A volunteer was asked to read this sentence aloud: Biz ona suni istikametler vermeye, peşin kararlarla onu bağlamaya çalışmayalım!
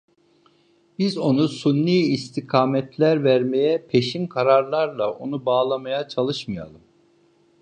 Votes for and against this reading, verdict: 1, 2, rejected